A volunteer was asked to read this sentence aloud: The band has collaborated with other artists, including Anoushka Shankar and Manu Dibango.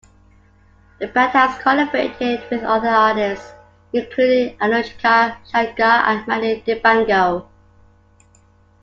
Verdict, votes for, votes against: accepted, 2, 0